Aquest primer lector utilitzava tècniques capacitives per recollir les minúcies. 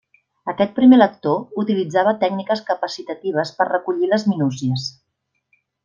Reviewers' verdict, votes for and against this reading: rejected, 0, 2